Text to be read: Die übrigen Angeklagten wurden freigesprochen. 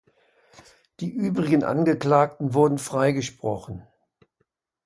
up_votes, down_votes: 2, 0